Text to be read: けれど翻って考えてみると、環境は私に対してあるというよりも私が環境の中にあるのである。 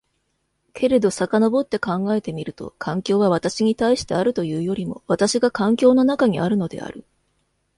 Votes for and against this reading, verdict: 1, 2, rejected